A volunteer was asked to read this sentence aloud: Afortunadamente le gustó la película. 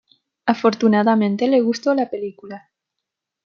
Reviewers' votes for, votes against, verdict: 2, 0, accepted